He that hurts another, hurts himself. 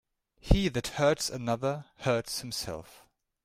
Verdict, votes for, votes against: accepted, 2, 0